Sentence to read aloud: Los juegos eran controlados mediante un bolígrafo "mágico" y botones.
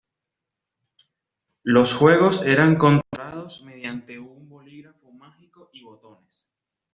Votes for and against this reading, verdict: 2, 1, accepted